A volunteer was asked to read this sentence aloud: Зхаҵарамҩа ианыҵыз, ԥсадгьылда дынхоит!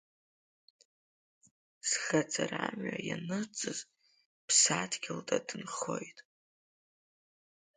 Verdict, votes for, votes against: rejected, 1, 2